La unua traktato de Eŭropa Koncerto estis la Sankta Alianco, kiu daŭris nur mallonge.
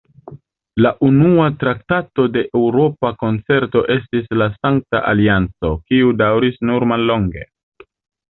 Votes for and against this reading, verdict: 0, 2, rejected